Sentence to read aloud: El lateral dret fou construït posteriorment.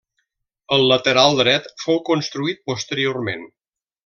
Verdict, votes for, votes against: accepted, 3, 0